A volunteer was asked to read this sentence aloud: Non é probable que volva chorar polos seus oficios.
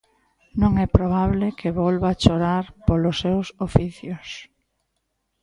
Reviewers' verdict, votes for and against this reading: accepted, 2, 0